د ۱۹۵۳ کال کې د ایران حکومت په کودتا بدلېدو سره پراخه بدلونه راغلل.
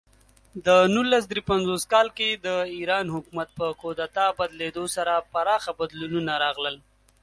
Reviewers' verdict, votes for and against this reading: rejected, 0, 2